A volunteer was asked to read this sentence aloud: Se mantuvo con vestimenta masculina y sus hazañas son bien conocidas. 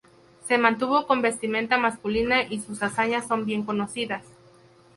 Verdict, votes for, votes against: accepted, 2, 0